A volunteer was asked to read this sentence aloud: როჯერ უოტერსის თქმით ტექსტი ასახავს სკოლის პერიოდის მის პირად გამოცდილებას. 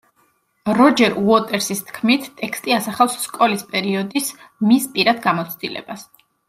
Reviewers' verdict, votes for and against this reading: accepted, 2, 0